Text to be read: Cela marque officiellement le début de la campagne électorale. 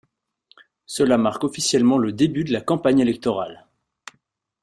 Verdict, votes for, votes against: accepted, 2, 0